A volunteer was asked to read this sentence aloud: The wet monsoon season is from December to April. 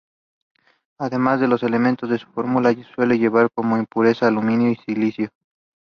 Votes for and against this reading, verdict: 2, 1, accepted